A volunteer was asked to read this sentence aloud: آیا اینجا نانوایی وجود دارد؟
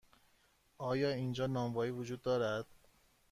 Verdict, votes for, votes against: accepted, 2, 0